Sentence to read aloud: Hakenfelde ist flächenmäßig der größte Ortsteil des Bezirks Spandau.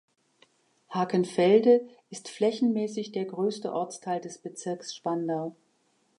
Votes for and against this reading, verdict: 2, 0, accepted